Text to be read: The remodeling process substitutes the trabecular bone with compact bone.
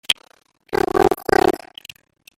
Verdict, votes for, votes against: rejected, 0, 2